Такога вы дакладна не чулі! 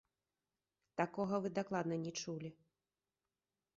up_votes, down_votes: 2, 3